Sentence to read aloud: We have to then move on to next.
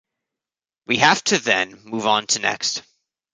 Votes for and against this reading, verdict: 2, 0, accepted